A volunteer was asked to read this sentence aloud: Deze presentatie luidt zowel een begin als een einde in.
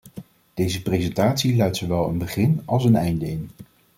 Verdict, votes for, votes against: accepted, 2, 0